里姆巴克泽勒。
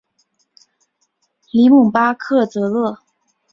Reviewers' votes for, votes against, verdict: 4, 0, accepted